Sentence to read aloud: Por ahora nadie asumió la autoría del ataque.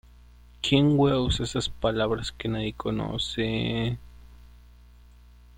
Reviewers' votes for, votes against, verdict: 0, 2, rejected